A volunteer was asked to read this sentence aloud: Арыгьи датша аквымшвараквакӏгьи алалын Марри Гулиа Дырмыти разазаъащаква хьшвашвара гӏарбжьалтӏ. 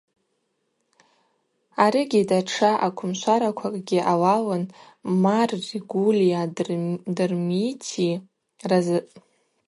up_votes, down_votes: 0, 2